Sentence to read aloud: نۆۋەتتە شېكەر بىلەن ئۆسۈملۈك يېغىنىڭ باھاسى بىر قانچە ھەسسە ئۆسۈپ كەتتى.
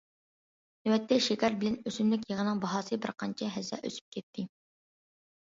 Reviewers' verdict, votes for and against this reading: accepted, 2, 0